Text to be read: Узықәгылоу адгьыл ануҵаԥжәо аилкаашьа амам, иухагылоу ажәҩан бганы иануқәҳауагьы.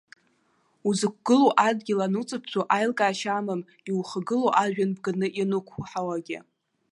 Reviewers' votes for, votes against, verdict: 1, 2, rejected